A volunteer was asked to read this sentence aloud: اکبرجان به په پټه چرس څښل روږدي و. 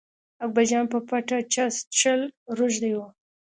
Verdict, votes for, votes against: accepted, 2, 0